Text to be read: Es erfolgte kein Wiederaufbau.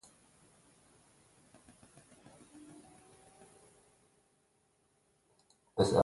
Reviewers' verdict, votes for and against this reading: rejected, 0, 2